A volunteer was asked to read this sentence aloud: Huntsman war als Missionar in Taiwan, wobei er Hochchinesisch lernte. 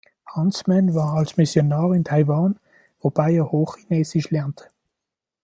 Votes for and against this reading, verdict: 2, 0, accepted